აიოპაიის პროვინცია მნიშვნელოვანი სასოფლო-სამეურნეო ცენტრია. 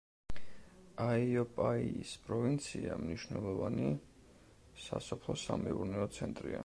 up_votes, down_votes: 2, 0